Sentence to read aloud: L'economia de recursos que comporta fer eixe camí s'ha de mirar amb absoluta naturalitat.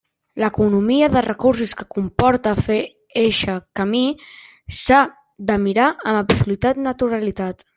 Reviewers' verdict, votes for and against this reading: rejected, 1, 2